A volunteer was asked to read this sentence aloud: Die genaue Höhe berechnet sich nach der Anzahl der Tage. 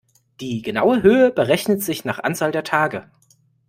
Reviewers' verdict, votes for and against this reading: rejected, 0, 2